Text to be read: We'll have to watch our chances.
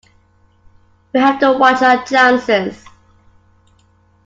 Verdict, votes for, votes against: accepted, 2, 1